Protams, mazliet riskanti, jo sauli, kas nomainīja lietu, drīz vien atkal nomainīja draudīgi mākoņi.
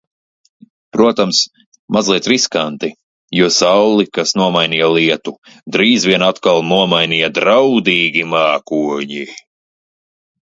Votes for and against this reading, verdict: 2, 0, accepted